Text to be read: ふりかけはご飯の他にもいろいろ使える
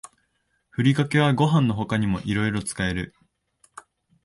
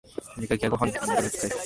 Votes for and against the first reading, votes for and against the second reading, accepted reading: 2, 0, 0, 3, first